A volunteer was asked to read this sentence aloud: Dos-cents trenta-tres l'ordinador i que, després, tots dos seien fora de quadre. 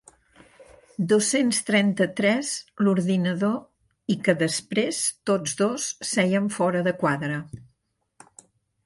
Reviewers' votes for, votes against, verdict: 3, 0, accepted